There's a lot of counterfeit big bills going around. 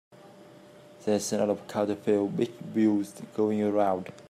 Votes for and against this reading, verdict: 1, 2, rejected